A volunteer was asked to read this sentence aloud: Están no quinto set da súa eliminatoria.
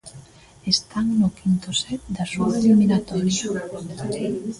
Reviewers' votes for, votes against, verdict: 0, 2, rejected